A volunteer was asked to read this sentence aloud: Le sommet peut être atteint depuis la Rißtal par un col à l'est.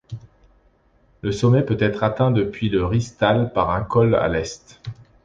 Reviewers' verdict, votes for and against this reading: accepted, 2, 0